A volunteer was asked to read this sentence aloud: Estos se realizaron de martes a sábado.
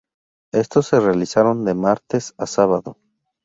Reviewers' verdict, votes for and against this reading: rejected, 0, 2